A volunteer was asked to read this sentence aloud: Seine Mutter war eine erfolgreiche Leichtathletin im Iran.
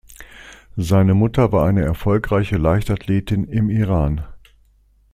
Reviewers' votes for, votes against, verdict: 2, 0, accepted